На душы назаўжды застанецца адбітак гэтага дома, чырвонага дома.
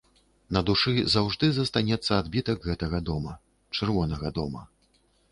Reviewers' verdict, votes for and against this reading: rejected, 1, 2